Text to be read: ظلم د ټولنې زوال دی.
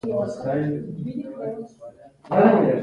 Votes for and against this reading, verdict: 2, 0, accepted